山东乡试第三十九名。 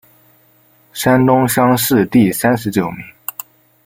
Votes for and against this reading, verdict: 2, 0, accepted